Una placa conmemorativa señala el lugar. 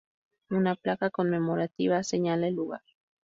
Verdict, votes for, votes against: rejected, 0, 2